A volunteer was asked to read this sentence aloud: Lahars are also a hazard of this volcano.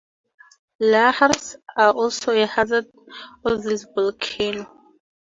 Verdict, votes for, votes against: accepted, 2, 0